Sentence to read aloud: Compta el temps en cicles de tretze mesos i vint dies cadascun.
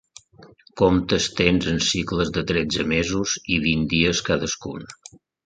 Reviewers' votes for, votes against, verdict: 1, 2, rejected